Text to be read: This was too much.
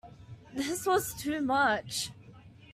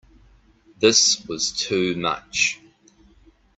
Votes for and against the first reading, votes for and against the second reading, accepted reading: 2, 0, 1, 2, first